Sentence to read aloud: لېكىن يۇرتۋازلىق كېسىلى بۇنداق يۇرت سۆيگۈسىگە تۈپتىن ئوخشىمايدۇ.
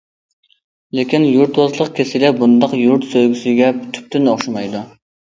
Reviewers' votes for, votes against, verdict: 2, 0, accepted